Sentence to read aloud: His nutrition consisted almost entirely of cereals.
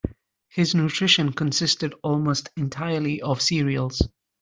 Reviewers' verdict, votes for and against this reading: accepted, 2, 0